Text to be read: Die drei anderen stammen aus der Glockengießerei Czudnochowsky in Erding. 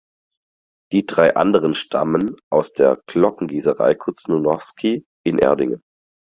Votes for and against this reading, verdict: 2, 4, rejected